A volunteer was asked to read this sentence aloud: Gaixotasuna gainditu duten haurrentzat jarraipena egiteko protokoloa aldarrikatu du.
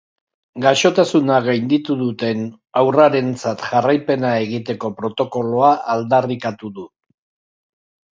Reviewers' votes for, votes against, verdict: 0, 2, rejected